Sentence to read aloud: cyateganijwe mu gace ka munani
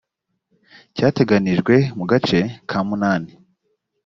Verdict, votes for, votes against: accepted, 2, 0